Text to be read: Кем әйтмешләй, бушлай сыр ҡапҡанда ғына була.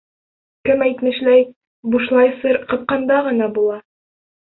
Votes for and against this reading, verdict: 2, 0, accepted